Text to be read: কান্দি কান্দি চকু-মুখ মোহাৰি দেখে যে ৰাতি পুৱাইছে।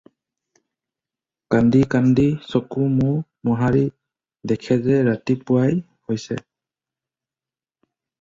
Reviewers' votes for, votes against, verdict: 2, 4, rejected